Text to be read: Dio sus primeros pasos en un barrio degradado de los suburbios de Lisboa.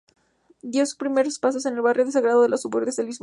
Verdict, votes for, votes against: rejected, 0, 2